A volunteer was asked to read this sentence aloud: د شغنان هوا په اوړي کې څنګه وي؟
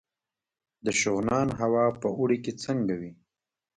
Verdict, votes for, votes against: rejected, 0, 2